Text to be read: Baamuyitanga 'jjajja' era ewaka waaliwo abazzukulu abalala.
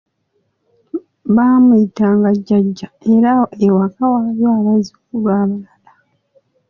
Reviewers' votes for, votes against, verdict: 2, 0, accepted